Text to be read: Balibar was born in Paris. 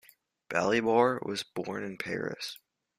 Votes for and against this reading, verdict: 2, 0, accepted